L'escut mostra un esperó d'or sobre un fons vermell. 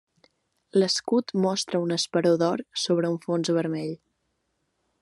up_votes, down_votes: 3, 0